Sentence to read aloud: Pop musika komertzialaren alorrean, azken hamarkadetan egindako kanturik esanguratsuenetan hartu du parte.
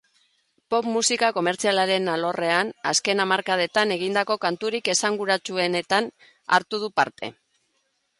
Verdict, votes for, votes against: accepted, 2, 0